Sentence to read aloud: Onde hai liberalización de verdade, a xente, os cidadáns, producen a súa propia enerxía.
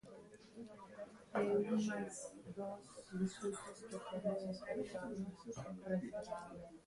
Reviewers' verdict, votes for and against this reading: rejected, 0, 2